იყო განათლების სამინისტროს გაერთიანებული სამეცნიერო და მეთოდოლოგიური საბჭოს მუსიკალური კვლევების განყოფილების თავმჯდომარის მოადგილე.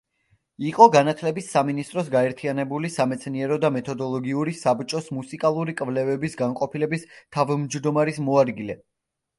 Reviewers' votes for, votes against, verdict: 2, 0, accepted